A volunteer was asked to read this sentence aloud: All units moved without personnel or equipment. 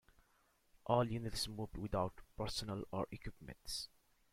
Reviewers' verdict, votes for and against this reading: rejected, 0, 2